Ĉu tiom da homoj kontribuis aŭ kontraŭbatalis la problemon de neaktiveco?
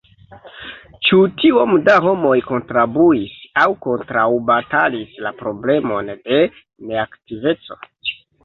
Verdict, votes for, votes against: rejected, 0, 2